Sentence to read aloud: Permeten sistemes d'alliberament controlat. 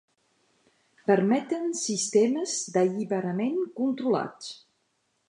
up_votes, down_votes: 1, 2